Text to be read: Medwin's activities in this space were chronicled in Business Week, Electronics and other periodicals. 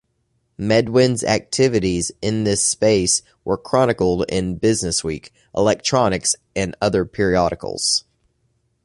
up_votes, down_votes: 2, 0